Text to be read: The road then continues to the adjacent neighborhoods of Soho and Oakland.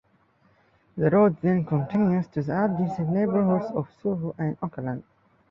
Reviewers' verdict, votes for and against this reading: accepted, 2, 1